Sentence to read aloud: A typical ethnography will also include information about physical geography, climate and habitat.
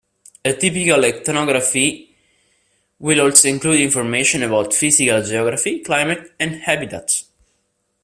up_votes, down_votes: 0, 2